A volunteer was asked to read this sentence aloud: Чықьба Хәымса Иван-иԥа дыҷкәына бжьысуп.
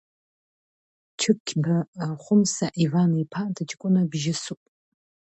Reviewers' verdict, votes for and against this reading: accepted, 2, 0